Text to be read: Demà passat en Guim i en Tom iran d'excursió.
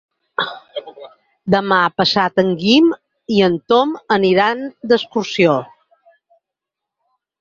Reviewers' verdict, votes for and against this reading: rejected, 0, 4